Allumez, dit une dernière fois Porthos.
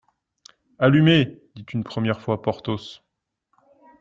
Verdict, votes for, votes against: rejected, 0, 2